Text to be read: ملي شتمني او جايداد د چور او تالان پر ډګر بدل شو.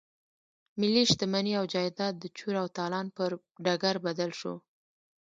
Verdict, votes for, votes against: rejected, 1, 2